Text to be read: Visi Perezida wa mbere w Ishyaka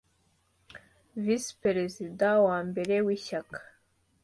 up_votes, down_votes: 2, 0